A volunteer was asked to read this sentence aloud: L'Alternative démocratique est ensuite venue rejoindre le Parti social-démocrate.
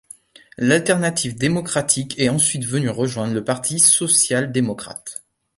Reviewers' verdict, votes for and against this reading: accepted, 2, 0